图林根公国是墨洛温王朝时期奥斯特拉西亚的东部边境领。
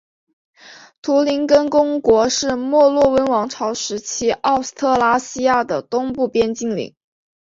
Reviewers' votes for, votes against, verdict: 5, 1, accepted